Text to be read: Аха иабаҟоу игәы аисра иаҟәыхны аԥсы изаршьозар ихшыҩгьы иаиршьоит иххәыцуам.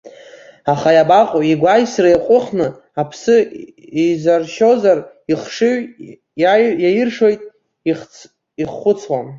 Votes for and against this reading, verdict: 0, 2, rejected